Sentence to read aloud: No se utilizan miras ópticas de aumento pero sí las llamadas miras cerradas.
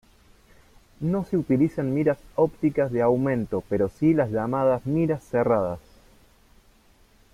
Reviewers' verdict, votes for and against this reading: accepted, 2, 0